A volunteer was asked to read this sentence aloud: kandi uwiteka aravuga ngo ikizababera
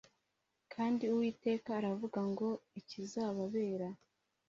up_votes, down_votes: 2, 0